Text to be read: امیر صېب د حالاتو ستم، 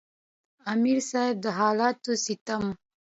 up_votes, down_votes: 2, 0